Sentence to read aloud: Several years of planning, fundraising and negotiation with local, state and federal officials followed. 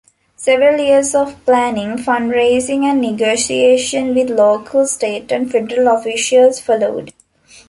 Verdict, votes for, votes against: accepted, 2, 0